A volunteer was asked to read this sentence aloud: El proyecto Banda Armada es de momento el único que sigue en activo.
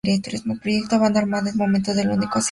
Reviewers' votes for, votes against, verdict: 0, 2, rejected